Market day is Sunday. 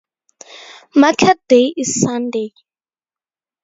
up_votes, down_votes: 2, 0